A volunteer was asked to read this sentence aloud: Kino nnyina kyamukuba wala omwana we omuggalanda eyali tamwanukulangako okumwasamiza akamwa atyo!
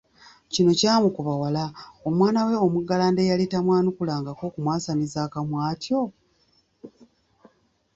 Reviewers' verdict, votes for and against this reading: rejected, 0, 2